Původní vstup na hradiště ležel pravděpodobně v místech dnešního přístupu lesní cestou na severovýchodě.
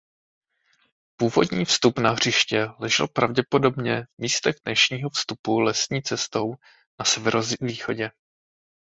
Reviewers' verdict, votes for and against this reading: rejected, 0, 2